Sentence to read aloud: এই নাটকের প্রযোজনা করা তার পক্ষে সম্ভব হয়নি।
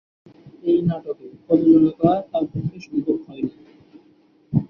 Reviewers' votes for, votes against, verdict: 3, 4, rejected